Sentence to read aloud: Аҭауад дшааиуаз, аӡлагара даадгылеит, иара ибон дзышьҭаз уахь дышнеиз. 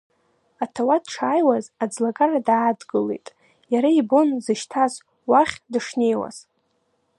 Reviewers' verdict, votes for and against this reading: accepted, 2, 1